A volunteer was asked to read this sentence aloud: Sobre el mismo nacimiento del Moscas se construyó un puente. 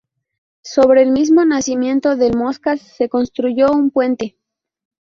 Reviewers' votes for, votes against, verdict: 2, 2, rejected